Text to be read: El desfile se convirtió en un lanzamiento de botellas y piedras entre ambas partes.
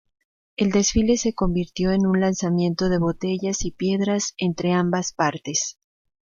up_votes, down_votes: 2, 0